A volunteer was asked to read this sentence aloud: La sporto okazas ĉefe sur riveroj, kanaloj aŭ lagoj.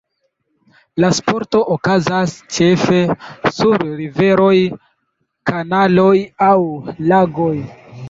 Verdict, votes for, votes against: accepted, 2, 1